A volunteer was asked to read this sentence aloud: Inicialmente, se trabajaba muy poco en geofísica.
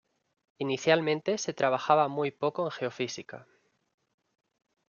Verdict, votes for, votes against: accepted, 2, 0